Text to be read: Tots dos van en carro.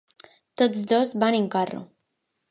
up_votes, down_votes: 2, 0